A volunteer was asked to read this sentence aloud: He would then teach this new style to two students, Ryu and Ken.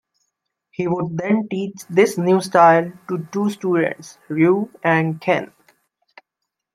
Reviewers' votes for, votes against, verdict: 2, 1, accepted